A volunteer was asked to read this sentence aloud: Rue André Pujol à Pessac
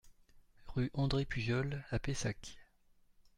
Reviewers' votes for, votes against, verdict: 2, 1, accepted